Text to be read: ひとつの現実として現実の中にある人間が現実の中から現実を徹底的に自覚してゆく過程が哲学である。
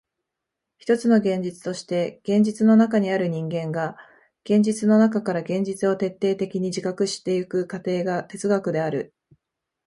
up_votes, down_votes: 2, 0